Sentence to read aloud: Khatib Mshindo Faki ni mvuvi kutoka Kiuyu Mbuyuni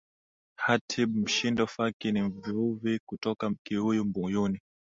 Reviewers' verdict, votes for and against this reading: rejected, 1, 2